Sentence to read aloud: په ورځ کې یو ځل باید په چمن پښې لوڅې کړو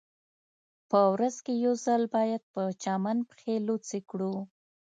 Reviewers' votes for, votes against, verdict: 2, 0, accepted